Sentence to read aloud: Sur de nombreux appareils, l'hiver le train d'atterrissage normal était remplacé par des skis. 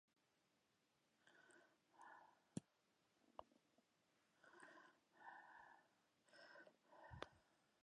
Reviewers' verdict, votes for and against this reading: rejected, 0, 2